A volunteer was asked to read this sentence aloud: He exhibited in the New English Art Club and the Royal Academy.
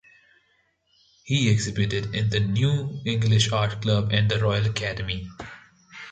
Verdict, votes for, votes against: accepted, 2, 0